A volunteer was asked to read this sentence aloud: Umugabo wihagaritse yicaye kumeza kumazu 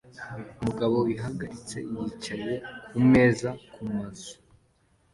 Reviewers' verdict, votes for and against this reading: accepted, 2, 0